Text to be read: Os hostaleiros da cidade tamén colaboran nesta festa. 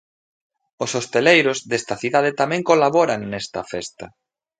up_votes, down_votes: 0, 3